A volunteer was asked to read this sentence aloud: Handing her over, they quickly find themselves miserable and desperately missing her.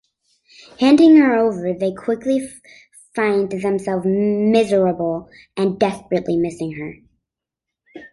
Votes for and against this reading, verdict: 2, 0, accepted